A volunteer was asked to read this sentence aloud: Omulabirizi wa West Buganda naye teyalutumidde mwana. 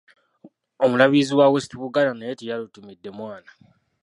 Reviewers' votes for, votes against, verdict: 0, 2, rejected